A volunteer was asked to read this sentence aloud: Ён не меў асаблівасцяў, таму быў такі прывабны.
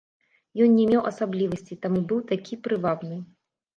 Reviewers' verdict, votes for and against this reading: rejected, 0, 2